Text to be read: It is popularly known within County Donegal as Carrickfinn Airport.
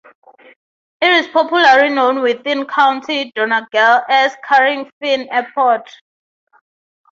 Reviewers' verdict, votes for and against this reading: accepted, 9, 6